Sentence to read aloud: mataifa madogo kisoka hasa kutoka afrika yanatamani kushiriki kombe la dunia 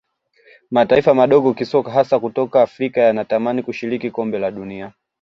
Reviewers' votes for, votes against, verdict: 2, 0, accepted